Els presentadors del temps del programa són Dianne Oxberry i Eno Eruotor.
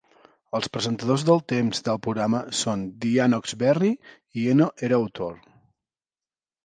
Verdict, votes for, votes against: rejected, 0, 2